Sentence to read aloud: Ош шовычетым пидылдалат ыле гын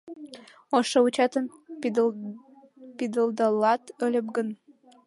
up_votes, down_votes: 0, 2